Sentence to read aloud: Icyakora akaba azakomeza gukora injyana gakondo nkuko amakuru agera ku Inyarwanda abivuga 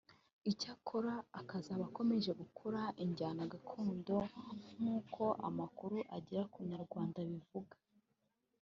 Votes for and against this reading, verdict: 1, 2, rejected